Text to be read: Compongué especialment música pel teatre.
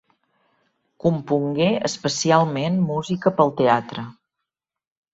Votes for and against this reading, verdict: 3, 0, accepted